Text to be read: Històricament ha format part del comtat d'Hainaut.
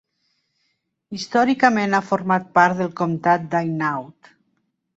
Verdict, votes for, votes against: accepted, 3, 0